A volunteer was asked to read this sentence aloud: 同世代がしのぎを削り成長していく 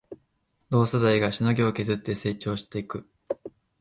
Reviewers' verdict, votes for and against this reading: rejected, 1, 2